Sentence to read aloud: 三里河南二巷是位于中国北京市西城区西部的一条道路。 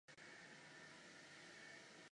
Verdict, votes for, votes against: rejected, 1, 2